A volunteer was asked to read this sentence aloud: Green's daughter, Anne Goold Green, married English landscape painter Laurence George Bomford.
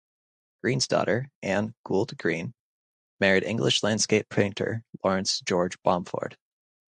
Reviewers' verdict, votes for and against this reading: accepted, 2, 0